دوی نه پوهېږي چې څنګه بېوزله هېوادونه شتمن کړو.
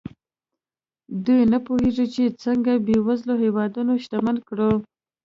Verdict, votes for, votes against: accepted, 2, 0